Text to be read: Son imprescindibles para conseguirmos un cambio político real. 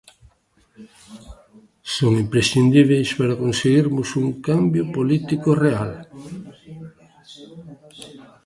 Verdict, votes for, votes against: rejected, 0, 2